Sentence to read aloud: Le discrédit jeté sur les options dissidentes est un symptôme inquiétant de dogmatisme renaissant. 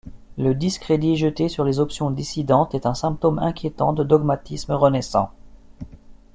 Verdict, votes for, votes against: accepted, 2, 0